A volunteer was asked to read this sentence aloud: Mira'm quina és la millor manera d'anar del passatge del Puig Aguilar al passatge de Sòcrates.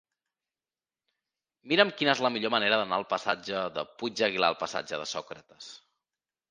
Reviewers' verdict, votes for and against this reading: rejected, 0, 2